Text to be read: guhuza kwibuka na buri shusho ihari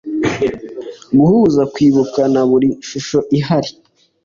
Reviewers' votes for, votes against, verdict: 2, 0, accepted